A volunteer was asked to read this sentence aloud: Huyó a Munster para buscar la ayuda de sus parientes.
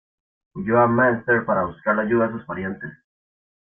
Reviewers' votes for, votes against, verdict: 1, 2, rejected